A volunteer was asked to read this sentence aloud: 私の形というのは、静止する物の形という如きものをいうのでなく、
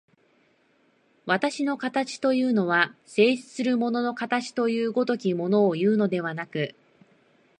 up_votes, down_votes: 2, 0